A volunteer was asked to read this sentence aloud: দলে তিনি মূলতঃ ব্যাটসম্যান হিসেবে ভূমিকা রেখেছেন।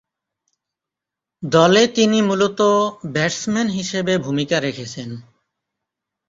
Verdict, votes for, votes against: accepted, 3, 1